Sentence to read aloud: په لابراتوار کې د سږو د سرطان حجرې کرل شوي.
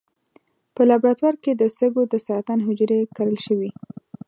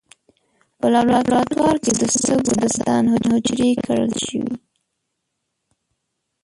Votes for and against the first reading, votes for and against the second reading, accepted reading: 2, 0, 0, 2, first